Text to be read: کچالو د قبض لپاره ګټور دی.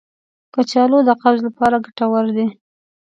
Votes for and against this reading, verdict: 2, 0, accepted